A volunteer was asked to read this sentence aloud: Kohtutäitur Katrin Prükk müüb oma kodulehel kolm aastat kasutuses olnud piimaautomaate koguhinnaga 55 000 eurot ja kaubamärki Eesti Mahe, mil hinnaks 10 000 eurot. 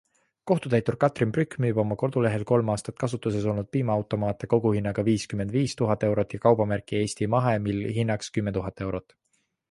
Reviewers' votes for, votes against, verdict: 0, 2, rejected